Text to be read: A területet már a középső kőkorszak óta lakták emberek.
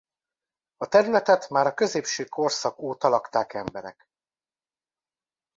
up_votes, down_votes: 0, 2